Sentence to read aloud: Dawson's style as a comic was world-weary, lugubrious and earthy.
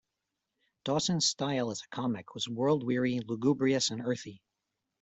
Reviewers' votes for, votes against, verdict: 2, 0, accepted